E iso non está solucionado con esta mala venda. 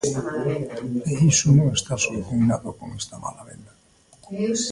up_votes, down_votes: 0, 2